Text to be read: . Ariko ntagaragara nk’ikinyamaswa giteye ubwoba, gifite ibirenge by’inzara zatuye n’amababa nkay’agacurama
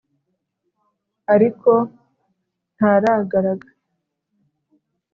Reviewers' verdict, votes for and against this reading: rejected, 0, 2